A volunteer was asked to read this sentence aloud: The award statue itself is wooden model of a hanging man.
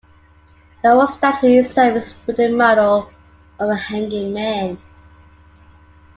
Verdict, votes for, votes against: accepted, 2, 1